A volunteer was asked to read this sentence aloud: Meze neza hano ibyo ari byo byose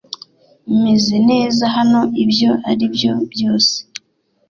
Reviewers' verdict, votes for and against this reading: accepted, 2, 0